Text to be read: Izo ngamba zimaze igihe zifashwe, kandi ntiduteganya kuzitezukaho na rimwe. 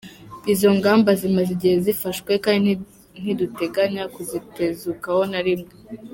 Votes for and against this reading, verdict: 0, 2, rejected